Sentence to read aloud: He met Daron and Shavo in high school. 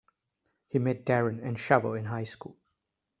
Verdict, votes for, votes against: accepted, 2, 0